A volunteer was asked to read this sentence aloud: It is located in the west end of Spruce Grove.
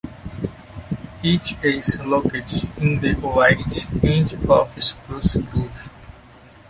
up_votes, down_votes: 0, 2